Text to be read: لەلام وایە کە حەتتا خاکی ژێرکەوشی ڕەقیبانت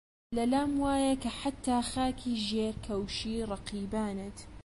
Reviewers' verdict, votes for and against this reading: accepted, 2, 0